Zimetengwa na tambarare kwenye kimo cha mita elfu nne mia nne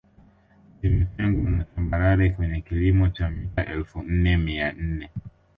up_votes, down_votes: 1, 3